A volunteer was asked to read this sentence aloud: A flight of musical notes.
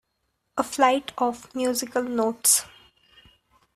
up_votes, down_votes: 2, 0